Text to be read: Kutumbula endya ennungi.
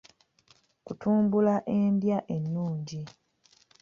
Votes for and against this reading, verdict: 2, 0, accepted